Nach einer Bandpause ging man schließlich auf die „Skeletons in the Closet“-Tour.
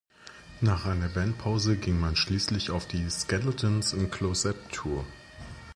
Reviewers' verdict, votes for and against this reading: rejected, 1, 2